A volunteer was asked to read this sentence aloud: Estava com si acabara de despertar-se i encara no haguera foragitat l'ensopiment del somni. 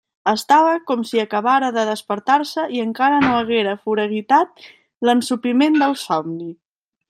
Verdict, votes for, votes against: rejected, 1, 2